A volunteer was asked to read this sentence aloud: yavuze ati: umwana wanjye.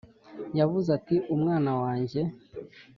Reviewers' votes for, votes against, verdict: 2, 0, accepted